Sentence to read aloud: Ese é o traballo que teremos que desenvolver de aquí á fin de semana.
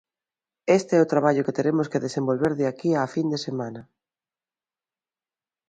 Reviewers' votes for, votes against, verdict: 0, 2, rejected